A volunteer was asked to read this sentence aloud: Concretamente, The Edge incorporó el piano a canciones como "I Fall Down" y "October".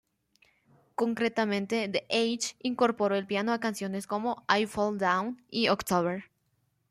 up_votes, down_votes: 2, 1